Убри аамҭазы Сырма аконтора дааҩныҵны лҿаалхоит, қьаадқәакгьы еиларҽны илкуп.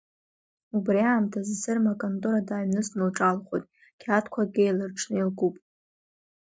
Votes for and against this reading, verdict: 2, 1, accepted